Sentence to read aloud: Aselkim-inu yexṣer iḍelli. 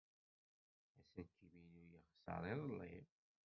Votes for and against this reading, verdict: 1, 2, rejected